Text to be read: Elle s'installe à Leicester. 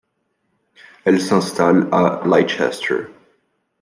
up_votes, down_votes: 2, 1